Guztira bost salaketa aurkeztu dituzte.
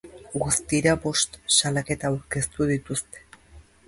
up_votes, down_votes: 2, 0